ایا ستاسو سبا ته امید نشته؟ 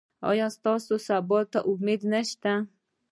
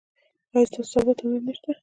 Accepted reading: first